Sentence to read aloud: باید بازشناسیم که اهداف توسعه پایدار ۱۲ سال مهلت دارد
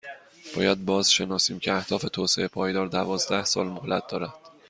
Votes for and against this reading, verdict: 0, 2, rejected